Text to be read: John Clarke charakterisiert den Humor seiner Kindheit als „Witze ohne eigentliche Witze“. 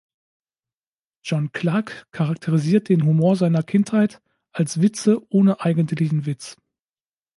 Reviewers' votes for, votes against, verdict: 0, 2, rejected